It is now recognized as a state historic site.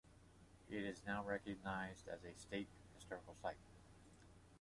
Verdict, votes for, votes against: accepted, 2, 0